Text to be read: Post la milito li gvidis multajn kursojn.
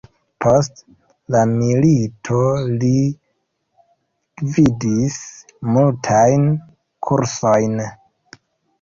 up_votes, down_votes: 1, 2